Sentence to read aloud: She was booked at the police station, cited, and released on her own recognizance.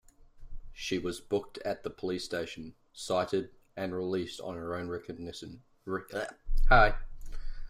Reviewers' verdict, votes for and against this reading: rejected, 1, 2